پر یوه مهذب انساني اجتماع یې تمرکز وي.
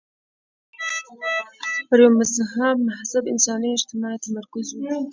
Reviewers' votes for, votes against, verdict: 0, 2, rejected